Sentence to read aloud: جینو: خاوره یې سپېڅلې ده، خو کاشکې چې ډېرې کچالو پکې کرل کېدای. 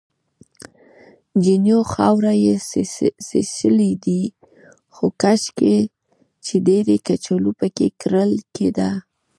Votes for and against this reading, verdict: 1, 2, rejected